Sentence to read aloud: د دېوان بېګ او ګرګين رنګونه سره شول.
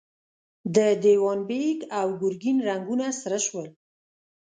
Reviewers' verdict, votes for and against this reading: rejected, 0, 2